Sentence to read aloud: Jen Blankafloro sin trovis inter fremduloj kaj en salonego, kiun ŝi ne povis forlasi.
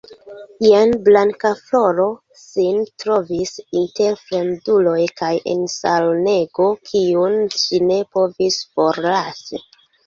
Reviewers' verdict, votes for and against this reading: accepted, 2, 1